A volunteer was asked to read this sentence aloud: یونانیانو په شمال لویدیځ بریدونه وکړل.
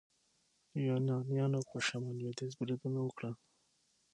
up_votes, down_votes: 6, 0